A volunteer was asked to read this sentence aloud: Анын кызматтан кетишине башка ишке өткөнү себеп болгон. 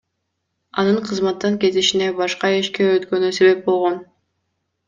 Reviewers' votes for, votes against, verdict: 2, 0, accepted